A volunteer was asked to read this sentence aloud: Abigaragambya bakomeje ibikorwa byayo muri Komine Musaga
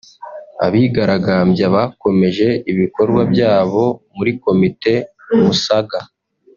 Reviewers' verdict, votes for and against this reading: rejected, 1, 2